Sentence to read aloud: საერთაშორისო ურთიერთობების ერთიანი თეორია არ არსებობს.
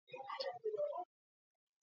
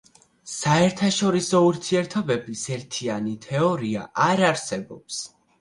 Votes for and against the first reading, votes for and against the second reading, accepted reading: 0, 2, 2, 0, second